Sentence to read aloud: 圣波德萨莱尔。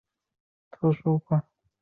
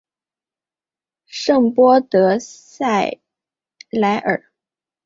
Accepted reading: second